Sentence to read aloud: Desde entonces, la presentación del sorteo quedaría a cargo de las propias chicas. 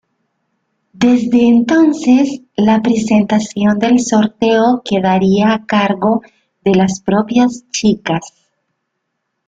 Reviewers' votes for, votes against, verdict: 2, 0, accepted